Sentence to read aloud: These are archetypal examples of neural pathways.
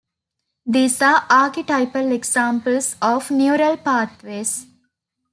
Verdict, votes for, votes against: accepted, 2, 0